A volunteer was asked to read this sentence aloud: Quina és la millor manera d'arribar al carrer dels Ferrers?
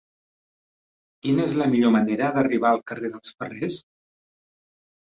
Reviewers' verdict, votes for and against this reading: rejected, 1, 2